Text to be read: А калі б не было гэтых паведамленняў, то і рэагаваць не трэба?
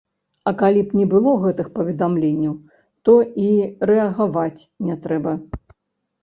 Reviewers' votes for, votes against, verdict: 1, 2, rejected